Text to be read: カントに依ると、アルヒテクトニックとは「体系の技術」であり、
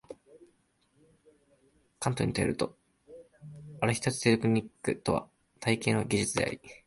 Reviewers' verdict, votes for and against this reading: rejected, 1, 2